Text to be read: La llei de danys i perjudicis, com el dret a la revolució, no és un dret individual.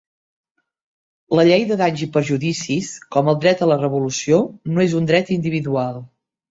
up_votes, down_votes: 3, 0